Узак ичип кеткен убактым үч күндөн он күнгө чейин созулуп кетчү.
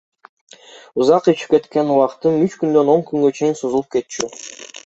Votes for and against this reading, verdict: 1, 2, rejected